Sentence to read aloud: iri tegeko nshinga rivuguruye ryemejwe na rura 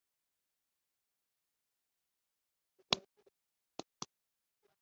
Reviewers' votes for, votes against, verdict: 0, 2, rejected